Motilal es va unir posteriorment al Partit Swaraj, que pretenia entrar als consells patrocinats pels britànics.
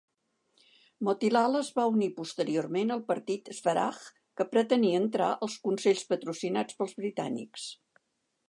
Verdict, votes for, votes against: accepted, 2, 0